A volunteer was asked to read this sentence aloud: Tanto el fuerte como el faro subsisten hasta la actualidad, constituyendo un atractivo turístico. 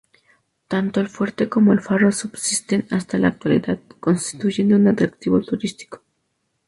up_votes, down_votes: 2, 0